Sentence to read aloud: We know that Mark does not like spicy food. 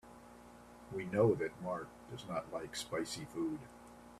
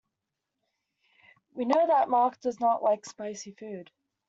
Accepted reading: first